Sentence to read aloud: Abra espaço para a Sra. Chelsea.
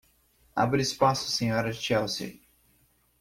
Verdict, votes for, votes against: rejected, 0, 2